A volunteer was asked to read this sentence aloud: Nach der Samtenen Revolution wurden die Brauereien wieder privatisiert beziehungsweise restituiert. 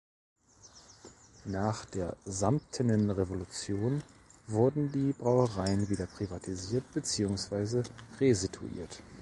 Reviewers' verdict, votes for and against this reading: rejected, 0, 2